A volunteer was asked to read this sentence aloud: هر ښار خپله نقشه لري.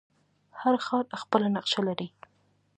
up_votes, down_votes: 2, 0